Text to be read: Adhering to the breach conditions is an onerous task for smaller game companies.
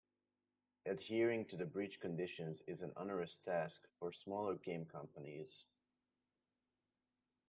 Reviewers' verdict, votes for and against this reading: accepted, 2, 0